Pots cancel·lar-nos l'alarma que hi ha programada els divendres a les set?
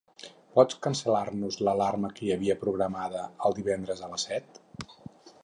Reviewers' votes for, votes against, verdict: 0, 4, rejected